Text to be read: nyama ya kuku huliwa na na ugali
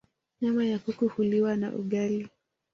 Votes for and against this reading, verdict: 1, 2, rejected